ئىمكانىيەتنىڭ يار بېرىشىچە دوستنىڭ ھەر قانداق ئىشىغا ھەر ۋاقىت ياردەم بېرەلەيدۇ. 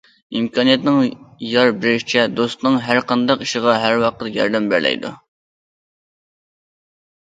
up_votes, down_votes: 2, 0